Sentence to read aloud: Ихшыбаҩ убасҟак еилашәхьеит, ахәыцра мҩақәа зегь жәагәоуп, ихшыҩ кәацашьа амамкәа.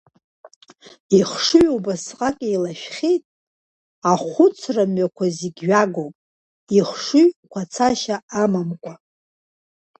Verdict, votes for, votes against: rejected, 0, 2